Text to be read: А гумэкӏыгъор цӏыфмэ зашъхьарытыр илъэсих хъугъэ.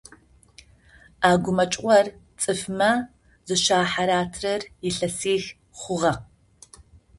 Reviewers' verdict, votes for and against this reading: rejected, 0, 2